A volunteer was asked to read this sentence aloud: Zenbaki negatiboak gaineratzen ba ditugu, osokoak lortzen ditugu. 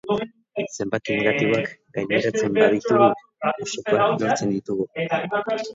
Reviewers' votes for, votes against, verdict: 0, 2, rejected